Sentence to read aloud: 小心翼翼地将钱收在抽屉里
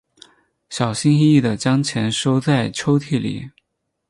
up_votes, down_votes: 2, 2